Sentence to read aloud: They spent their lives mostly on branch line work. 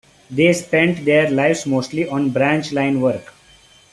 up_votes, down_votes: 2, 0